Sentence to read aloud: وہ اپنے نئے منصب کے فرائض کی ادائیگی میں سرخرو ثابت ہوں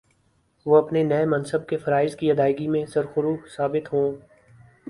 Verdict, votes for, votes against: accepted, 2, 0